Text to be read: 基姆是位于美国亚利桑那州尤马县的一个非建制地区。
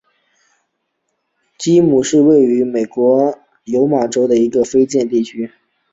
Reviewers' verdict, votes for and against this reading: rejected, 0, 2